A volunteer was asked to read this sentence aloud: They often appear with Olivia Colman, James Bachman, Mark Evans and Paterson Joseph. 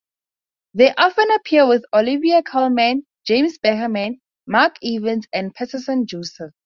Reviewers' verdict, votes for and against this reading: rejected, 0, 2